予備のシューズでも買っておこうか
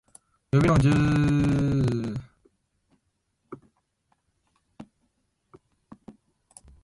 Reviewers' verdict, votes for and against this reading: rejected, 0, 7